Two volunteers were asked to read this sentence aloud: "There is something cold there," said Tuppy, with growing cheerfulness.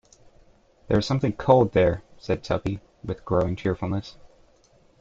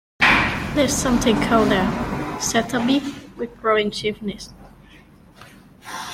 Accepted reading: first